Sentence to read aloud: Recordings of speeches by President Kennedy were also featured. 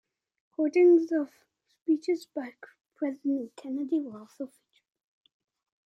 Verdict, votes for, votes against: rejected, 0, 2